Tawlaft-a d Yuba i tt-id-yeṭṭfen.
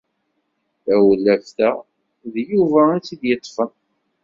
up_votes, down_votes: 2, 0